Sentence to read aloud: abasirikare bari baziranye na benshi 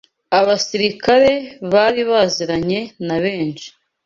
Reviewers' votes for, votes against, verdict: 2, 0, accepted